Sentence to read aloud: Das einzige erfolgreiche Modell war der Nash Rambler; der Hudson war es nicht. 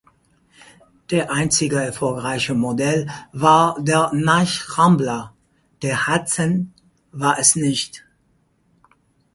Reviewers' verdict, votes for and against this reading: rejected, 0, 4